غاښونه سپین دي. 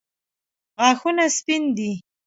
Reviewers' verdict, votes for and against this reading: accepted, 2, 0